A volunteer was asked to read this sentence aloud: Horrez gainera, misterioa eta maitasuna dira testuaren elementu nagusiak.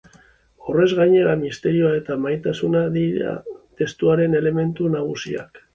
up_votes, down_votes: 3, 0